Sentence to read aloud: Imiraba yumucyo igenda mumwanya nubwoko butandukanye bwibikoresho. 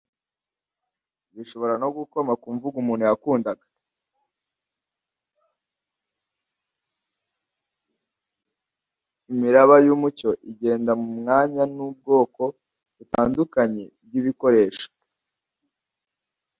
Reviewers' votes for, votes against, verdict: 0, 2, rejected